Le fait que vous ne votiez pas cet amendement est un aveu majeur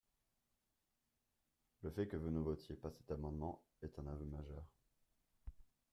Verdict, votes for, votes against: rejected, 0, 2